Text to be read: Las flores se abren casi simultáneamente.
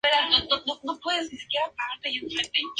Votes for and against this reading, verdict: 2, 4, rejected